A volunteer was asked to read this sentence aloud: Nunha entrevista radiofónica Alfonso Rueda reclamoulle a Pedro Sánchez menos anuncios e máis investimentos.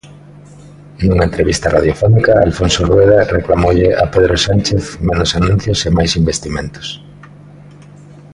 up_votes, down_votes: 2, 0